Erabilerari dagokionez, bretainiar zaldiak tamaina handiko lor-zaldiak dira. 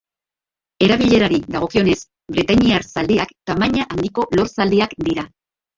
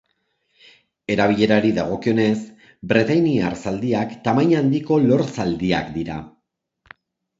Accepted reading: second